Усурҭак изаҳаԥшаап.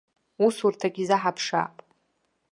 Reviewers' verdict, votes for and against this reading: accepted, 2, 0